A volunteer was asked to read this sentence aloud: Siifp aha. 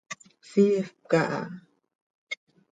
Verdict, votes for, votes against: rejected, 1, 2